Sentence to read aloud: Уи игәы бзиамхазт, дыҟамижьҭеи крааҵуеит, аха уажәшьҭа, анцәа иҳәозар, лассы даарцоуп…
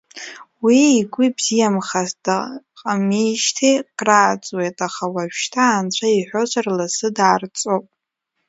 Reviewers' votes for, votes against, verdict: 1, 2, rejected